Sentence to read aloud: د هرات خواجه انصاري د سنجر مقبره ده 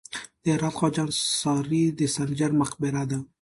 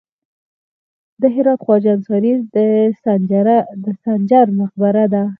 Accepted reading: first